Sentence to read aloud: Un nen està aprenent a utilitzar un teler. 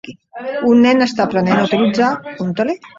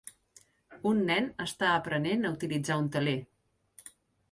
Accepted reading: second